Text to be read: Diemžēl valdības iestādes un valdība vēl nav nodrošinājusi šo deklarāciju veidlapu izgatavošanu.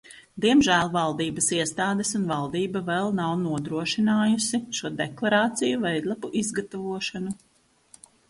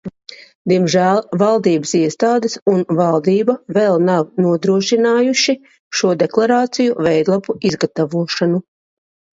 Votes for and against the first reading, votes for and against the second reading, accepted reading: 2, 0, 0, 2, first